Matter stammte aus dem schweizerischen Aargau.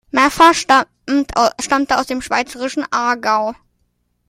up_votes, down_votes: 0, 2